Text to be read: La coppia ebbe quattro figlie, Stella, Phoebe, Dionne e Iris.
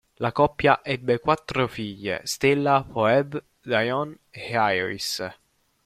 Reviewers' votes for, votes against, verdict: 1, 2, rejected